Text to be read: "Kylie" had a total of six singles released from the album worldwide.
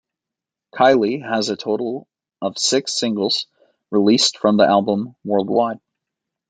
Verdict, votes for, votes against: rejected, 0, 2